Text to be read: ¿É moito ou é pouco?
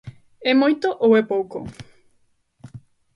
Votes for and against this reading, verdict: 2, 0, accepted